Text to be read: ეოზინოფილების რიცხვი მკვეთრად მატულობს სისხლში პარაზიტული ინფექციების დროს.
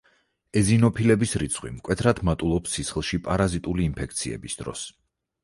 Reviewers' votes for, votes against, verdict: 0, 4, rejected